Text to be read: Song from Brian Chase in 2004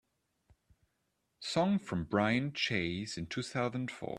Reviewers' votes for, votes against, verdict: 0, 2, rejected